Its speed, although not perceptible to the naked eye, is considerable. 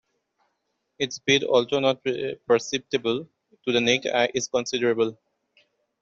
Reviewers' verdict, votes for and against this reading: rejected, 0, 2